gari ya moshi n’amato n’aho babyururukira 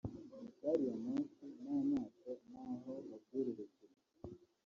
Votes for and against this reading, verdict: 1, 2, rejected